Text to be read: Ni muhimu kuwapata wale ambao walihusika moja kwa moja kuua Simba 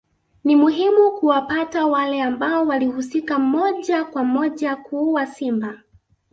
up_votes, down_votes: 2, 0